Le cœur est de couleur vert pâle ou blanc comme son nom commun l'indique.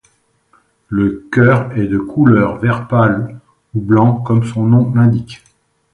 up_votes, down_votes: 1, 2